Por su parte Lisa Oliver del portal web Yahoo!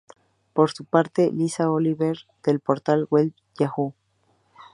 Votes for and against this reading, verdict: 2, 0, accepted